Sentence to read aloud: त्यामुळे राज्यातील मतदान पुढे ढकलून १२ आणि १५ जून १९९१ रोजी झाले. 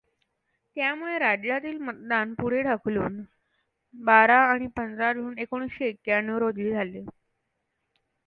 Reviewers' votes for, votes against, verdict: 0, 2, rejected